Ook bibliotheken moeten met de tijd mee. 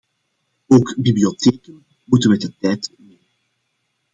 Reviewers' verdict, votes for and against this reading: rejected, 0, 2